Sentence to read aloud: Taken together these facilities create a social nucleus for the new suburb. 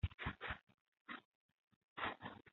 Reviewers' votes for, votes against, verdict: 0, 2, rejected